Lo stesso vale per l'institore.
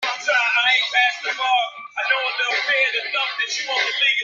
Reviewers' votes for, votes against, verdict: 0, 2, rejected